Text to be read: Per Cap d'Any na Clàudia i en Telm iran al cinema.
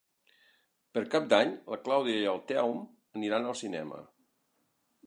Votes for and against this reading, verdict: 0, 2, rejected